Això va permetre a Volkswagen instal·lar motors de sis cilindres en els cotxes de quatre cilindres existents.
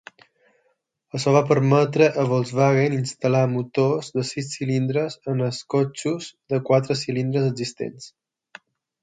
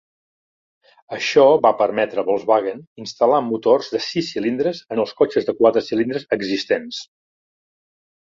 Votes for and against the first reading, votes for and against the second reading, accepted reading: 3, 6, 3, 0, second